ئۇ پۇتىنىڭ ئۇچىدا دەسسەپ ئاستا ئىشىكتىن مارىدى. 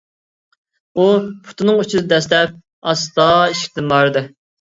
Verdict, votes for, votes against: rejected, 0, 2